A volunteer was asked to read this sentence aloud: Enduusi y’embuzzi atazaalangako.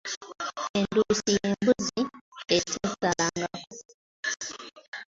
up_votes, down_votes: 2, 1